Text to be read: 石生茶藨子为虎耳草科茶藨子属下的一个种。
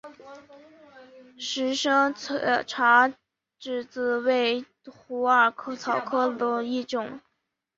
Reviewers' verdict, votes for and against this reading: rejected, 0, 2